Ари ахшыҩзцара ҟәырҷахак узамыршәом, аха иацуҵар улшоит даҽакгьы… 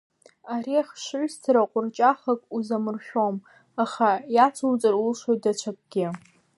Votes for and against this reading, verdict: 1, 2, rejected